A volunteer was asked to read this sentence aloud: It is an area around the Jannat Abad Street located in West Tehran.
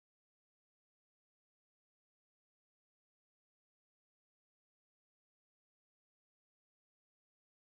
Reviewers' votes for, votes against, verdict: 0, 4, rejected